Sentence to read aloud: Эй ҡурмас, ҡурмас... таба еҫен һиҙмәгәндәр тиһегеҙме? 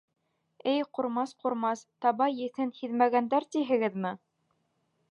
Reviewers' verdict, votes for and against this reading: accepted, 2, 0